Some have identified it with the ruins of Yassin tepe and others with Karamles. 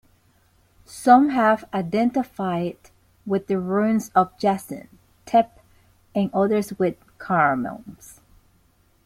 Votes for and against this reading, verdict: 0, 3, rejected